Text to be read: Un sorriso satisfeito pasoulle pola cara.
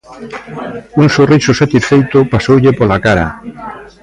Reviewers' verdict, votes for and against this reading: rejected, 0, 2